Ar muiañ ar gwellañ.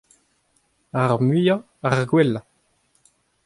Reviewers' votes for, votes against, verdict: 2, 0, accepted